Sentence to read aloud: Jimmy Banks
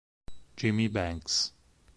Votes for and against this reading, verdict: 4, 0, accepted